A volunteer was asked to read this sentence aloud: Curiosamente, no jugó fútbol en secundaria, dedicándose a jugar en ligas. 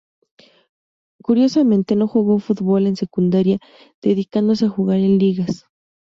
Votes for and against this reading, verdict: 2, 0, accepted